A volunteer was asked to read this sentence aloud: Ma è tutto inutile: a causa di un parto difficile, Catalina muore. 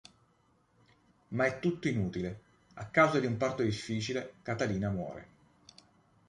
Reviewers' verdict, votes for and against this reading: accepted, 2, 0